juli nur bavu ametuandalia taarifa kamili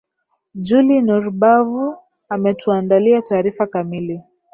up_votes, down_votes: 6, 3